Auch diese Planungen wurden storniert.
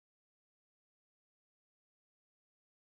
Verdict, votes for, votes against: rejected, 0, 2